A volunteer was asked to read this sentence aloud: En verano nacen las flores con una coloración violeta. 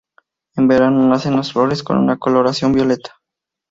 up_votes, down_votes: 2, 0